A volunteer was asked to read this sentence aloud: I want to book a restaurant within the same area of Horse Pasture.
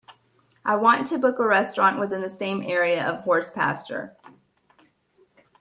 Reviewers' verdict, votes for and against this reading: accepted, 2, 0